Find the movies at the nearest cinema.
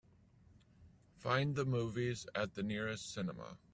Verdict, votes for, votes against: accepted, 2, 0